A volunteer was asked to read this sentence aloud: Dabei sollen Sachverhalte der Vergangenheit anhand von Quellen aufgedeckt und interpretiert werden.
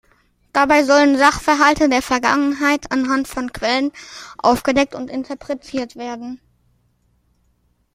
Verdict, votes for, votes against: accepted, 2, 0